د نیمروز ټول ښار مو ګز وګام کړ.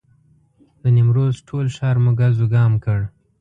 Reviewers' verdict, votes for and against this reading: accepted, 2, 0